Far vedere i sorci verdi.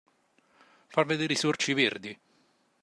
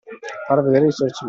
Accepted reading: first